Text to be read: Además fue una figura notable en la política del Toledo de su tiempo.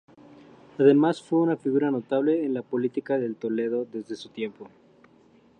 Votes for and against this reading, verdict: 0, 4, rejected